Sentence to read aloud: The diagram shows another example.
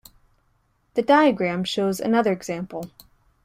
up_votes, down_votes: 2, 0